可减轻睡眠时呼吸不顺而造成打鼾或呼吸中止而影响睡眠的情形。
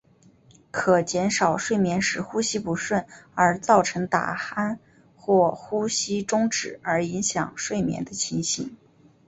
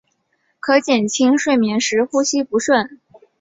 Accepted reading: first